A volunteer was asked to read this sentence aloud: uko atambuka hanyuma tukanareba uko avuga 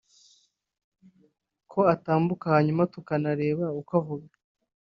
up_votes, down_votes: 0, 2